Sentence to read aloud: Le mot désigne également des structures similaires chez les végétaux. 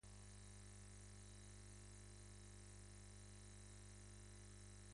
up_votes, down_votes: 0, 2